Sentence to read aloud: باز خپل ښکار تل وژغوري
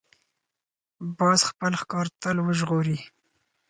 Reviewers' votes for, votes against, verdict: 4, 0, accepted